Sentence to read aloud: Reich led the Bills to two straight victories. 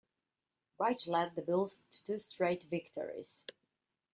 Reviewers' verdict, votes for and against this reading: rejected, 0, 2